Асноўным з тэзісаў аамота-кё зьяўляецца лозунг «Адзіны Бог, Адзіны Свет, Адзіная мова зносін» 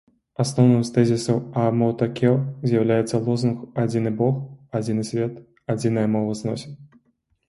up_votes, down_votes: 2, 0